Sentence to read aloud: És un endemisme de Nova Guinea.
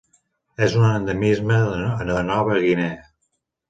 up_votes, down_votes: 0, 2